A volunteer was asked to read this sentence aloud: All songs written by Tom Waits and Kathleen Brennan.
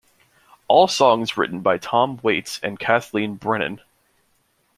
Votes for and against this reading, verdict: 2, 0, accepted